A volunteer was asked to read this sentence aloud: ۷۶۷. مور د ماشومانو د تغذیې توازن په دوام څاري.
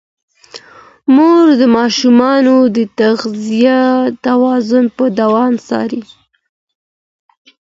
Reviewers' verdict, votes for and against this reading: rejected, 0, 2